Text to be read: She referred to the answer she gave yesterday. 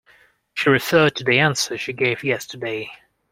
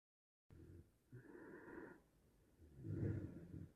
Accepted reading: first